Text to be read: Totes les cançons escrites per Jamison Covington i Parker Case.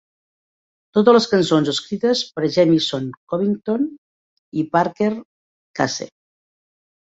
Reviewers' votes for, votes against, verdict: 3, 1, accepted